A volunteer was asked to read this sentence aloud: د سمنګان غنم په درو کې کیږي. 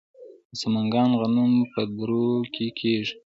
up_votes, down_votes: 2, 0